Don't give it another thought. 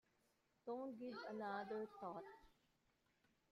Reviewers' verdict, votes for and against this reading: rejected, 0, 2